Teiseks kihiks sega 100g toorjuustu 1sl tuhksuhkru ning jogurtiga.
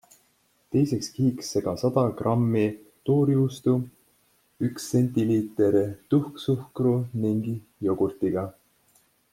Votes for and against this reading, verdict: 0, 2, rejected